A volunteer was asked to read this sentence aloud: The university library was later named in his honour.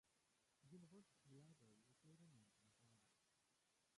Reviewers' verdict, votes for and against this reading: rejected, 0, 2